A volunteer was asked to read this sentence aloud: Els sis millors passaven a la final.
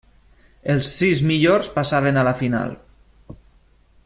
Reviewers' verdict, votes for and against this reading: accepted, 3, 0